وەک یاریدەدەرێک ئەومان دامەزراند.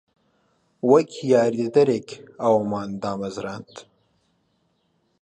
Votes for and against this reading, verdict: 2, 0, accepted